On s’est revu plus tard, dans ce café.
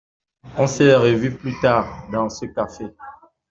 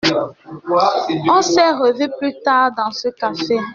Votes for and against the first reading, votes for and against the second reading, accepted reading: 2, 0, 1, 2, first